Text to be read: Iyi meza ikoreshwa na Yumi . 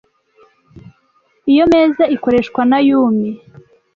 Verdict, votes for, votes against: rejected, 1, 2